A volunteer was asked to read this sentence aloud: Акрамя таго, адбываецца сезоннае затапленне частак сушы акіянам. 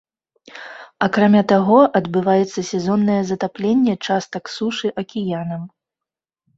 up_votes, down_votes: 2, 0